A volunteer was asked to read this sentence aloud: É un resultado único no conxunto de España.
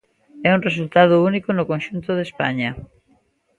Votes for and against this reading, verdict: 1, 2, rejected